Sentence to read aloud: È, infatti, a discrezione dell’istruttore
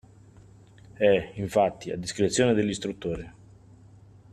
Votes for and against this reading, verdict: 2, 0, accepted